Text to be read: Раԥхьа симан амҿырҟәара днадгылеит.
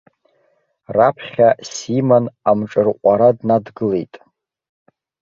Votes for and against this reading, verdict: 2, 3, rejected